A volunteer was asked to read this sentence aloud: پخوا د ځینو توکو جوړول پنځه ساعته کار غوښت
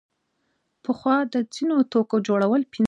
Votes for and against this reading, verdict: 0, 2, rejected